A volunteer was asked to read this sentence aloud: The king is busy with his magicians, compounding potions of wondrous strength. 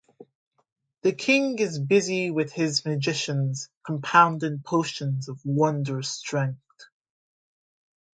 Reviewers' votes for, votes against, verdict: 2, 1, accepted